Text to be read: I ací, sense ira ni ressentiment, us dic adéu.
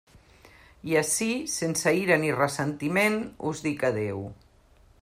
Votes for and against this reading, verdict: 3, 0, accepted